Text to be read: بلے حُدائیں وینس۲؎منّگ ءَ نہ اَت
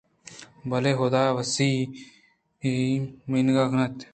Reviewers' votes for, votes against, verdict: 0, 2, rejected